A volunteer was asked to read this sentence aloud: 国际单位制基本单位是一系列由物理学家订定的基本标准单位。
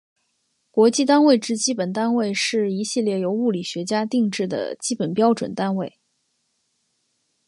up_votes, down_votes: 4, 1